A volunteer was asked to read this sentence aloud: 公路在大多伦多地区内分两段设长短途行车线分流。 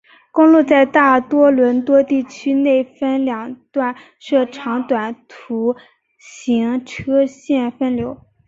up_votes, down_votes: 7, 0